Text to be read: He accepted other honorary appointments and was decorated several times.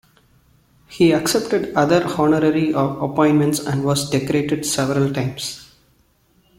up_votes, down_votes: 1, 2